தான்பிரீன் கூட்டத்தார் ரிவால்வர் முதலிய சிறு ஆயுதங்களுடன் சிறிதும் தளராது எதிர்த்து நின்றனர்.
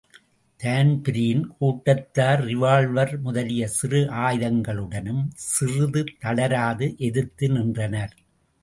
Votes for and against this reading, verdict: 2, 0, accepted